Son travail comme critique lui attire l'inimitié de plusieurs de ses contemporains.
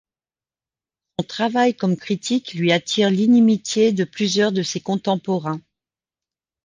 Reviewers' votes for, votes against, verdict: 0, 2, rejected